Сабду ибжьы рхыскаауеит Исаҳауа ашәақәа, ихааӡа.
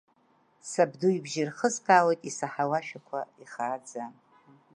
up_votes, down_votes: 0, 2